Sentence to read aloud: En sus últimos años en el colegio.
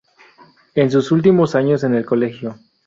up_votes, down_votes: 2, 0